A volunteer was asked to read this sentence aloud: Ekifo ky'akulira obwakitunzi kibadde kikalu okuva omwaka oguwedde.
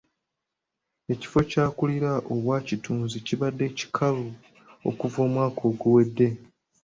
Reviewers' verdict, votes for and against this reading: accepted, 2, 0